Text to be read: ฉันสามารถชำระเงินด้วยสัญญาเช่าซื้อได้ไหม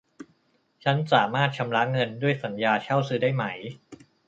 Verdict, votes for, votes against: accepted, 2, 0